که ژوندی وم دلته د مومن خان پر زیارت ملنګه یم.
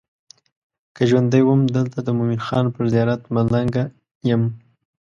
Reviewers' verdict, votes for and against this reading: accepted, 2, 0